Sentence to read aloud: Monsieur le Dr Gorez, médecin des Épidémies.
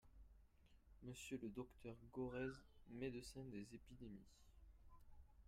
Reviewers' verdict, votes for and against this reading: rejected, 0, 2